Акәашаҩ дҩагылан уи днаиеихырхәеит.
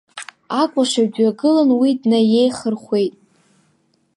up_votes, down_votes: 2, 0